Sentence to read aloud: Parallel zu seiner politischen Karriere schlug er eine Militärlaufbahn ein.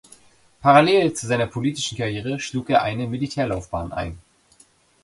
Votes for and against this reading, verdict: 2, 0, accepted